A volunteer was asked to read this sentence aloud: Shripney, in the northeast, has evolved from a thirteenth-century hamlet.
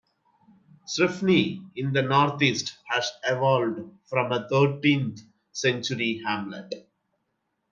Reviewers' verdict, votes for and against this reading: rejected, 0, 2